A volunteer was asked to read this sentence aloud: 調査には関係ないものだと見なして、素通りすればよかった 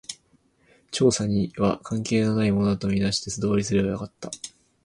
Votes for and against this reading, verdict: 0, 2, rejected